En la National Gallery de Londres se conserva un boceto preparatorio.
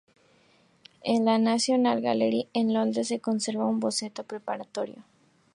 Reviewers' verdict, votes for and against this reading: accepted, 2, 0